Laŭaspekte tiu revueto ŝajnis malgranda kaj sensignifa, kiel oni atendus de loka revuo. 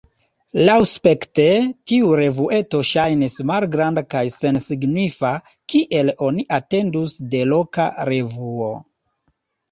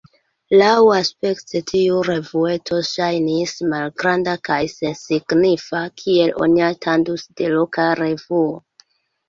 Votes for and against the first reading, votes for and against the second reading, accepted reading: 1, 2, 2, 0, second